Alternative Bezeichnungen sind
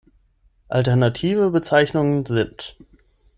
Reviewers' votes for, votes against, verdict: 6, 0, accepted